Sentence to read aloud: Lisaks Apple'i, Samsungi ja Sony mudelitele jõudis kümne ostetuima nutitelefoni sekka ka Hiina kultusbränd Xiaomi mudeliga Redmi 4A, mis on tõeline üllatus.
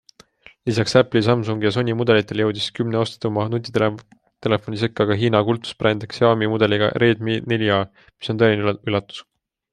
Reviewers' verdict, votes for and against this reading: rejected, 0, 2